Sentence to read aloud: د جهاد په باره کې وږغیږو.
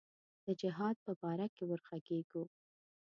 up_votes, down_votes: 2, 0